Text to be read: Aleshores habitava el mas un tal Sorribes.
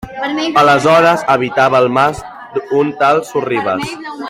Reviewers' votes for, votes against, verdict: 1, 2, rejected